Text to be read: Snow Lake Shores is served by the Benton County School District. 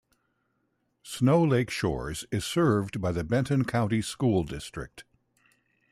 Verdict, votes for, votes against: accepted, 2, 0